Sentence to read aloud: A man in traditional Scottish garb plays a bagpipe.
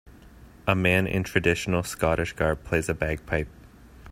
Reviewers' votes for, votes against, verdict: 2, 0, accepted